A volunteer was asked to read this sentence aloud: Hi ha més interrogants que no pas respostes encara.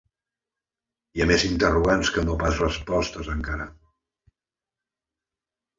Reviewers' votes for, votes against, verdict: 2, 0, accepted